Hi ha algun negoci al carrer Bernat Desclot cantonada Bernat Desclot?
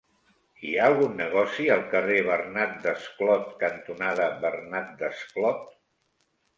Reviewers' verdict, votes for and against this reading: accepted, 3, 0